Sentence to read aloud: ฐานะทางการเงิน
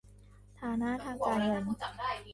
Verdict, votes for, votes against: rejected, 0, 2